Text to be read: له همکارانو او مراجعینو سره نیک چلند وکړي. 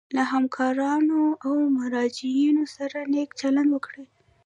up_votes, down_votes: 1, 2